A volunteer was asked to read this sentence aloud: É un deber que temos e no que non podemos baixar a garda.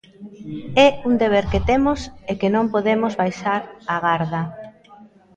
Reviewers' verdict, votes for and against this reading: rejected, 0, 2